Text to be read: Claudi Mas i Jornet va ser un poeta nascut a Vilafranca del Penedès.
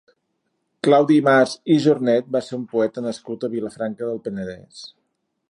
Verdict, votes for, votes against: accepted, 3, 0